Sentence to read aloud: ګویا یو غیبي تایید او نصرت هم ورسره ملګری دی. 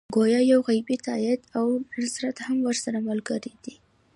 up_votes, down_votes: 1, 2